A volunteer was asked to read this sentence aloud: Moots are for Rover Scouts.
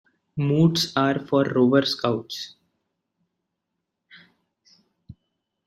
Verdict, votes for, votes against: accepted, 2, 0